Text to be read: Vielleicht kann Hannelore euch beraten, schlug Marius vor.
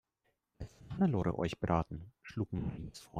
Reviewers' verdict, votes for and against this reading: rejected, 0, 2